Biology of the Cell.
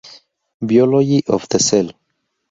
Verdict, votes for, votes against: rejected, 0, 2